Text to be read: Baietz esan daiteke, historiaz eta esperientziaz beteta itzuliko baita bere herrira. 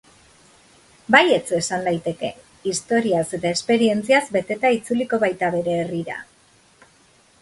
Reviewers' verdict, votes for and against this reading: accepted, 2, 1